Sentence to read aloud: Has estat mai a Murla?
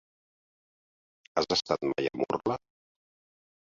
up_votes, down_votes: 2, 4